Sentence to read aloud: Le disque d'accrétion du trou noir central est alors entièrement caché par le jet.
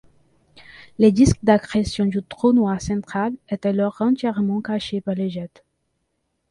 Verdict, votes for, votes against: rejected, 0, 2